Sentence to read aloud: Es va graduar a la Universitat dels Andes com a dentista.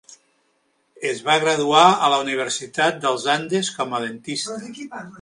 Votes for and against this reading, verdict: 0, 2, rejected